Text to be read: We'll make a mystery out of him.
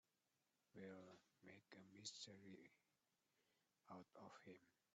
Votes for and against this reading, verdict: 0, 2, rejected